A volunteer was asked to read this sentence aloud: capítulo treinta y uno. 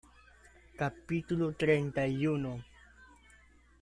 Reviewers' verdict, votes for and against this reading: accepted, 2, 0